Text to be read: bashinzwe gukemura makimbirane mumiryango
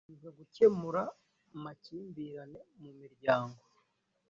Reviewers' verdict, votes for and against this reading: rejected, 1, 2